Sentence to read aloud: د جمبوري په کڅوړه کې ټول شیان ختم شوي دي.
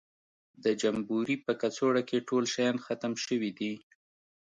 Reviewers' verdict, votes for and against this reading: accepted, 2, 0